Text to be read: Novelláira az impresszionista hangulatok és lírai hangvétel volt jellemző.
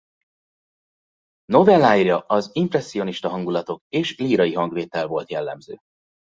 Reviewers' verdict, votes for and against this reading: accepted, 2, 0